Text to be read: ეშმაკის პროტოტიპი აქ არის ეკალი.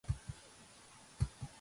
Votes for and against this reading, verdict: 0, 2, rejected